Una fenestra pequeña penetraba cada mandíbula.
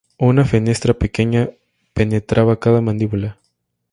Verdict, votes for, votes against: accepted, 2, 0